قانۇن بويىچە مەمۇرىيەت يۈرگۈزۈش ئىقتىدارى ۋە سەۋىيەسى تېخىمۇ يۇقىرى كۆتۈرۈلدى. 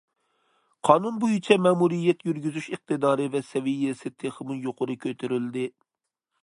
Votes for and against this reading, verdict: 2, 0, accepted